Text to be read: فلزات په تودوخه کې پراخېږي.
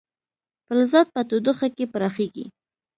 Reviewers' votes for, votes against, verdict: 2, 0, accepted